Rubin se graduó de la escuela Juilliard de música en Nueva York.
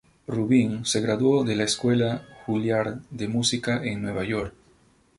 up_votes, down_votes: 2, 0